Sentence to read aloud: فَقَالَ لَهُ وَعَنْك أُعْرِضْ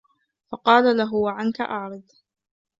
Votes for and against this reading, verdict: 2, 1, accepted